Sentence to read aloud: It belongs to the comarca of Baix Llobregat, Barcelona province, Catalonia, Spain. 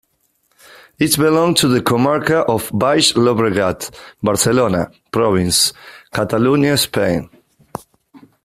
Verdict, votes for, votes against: accepted, 2, 1